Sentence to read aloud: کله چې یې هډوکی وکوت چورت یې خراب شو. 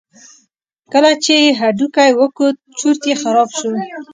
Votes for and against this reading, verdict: 2, 0, accepted